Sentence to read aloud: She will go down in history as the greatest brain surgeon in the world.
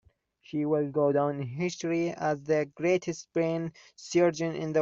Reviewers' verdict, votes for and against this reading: rejected, 0, 2